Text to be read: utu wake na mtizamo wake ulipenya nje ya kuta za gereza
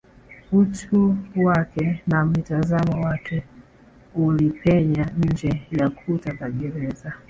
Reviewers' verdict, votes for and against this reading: rejected, 0, 2